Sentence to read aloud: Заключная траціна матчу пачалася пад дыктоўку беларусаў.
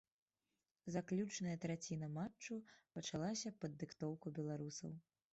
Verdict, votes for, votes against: rejected, 0, 2